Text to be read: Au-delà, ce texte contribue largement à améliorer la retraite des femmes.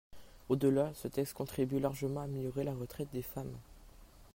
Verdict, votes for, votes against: accepted, 2, 1